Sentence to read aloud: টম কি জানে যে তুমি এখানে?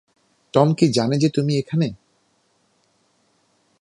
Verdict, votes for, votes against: accepted, 2, 1